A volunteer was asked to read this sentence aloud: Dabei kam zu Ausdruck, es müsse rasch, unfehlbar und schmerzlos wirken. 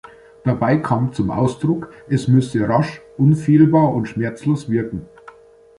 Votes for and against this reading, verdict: 2, 0, accepted